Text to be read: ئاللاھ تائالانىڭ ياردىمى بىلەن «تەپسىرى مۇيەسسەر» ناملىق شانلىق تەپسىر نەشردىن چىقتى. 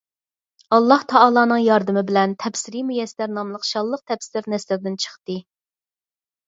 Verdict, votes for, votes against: accepted, 4, 2